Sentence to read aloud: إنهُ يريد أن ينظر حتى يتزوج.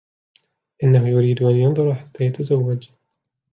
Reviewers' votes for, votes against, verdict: 2, 0, accepted